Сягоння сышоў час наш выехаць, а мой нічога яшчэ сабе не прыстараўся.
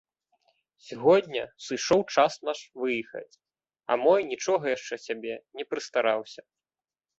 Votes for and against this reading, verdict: 2, 0, accepted